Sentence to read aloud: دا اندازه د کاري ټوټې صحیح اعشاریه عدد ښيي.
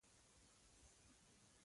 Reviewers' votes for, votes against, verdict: 1, 2, rejected